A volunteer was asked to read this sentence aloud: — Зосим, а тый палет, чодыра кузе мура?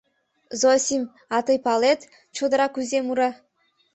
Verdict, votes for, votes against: accepted, 2, 0